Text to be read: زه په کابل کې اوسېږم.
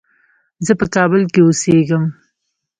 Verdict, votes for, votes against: rejected, 1, 2